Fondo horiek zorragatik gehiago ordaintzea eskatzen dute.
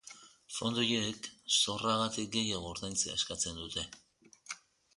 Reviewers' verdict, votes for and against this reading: rejected, 1, 2